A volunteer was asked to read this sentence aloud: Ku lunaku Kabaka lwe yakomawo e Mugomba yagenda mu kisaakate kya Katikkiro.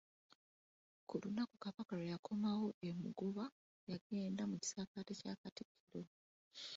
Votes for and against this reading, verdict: 2, 3, rejected